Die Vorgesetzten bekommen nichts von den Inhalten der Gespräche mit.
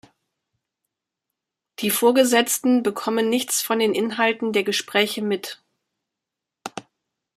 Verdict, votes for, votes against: accepted, 2, 0